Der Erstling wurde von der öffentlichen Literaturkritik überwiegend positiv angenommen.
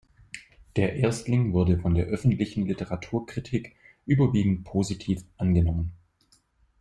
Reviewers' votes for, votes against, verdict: 2, 0, accepted